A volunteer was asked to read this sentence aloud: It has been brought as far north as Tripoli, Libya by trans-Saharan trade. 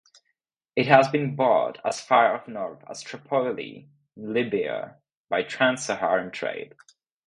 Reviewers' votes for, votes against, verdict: 0, 2, rejected